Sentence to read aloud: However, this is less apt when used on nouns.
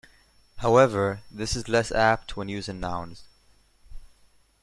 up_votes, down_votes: 0, 2